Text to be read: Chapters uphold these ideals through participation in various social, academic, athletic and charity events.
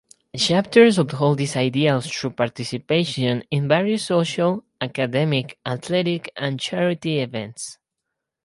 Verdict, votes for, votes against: accepted, 2, 0